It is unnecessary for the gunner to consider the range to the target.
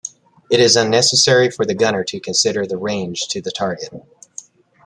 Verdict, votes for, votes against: accepted, 2, 0